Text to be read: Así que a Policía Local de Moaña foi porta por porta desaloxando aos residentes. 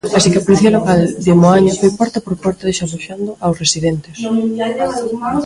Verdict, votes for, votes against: rejected, 0, 2